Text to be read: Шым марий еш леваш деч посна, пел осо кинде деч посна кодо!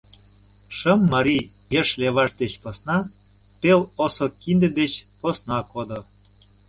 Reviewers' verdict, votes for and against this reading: accepted, 2, 0